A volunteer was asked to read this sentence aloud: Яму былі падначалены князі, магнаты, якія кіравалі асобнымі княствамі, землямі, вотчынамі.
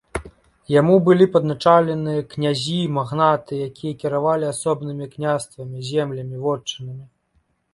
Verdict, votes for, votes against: accepted, 3, 0